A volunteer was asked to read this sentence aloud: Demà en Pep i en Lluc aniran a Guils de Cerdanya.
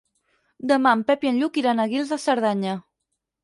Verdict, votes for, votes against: rejected, 0, 4